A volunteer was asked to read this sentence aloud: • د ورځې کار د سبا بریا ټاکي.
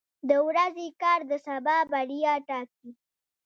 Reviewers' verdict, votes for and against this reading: accepted, 2, 0